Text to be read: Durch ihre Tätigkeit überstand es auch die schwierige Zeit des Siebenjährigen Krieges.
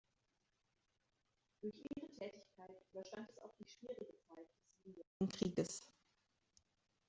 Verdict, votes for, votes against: rejected, 1, 2